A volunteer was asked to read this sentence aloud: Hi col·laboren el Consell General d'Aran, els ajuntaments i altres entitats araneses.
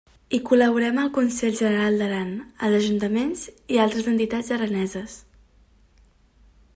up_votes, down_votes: 0, 2